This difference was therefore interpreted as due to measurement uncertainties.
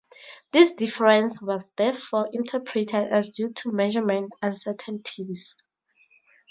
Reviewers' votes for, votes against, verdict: 2, 0, accepted